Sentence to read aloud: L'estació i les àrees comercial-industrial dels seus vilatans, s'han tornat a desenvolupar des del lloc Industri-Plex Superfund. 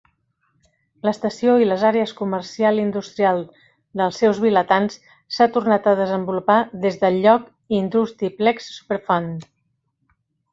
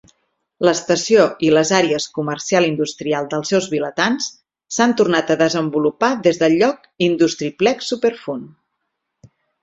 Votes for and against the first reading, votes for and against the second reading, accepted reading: 1, 2, 4, 0, second